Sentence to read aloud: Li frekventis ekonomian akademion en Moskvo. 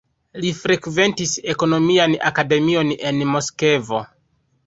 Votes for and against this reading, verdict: 1, 2, rejected